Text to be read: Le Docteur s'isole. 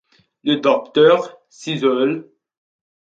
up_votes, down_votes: 2, 0